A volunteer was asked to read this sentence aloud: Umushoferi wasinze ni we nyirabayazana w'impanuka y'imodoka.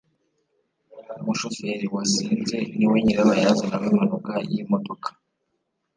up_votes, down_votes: 3, 0